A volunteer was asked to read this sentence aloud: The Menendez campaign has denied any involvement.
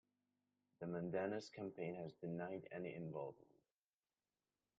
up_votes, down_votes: 2, 0